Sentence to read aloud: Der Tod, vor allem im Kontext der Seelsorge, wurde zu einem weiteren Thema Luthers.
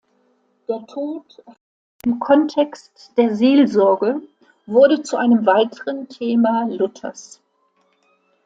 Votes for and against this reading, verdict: 0, 2, rejected